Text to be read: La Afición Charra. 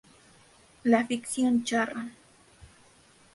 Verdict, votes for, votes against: rejected, 0, 2